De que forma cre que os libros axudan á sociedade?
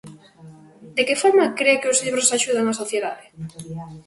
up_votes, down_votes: 0, 2